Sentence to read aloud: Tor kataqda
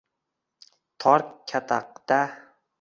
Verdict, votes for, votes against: rejected, 1, 2